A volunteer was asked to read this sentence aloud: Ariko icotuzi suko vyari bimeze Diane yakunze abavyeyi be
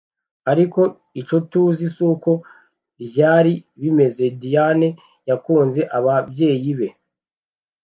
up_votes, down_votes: 1, 2